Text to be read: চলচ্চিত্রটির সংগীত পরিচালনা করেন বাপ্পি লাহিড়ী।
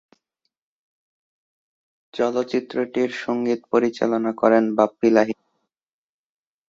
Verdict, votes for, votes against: rejected, 2, 3